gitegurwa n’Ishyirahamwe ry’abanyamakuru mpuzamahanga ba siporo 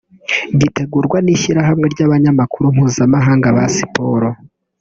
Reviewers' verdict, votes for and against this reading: rejected, 1, 2